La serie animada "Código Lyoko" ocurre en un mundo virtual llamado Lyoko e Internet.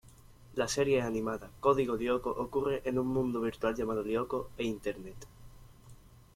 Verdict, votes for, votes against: accepted, 2, 1